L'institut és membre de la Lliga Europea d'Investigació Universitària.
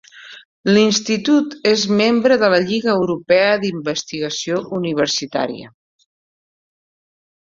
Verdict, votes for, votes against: accepted, 2, 0